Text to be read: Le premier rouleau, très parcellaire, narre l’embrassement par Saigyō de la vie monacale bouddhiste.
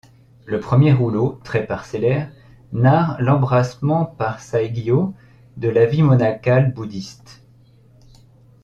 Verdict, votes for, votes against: accepted, 2, 0